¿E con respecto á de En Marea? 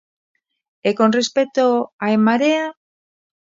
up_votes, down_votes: 0, 2